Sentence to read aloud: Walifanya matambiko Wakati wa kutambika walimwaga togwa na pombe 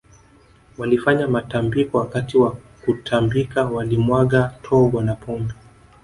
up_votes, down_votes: 2, 0